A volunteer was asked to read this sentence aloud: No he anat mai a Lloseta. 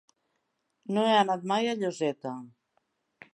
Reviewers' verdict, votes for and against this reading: rejected, 0, 2